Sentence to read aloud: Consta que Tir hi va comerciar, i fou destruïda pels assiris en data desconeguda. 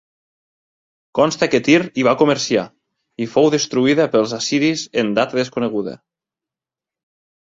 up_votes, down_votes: 2, 0